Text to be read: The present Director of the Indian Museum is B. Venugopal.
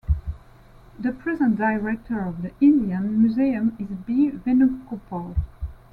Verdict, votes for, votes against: accepted, 2, 0